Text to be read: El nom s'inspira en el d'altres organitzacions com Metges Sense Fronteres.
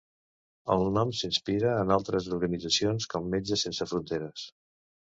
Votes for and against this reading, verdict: 2, 1, accepted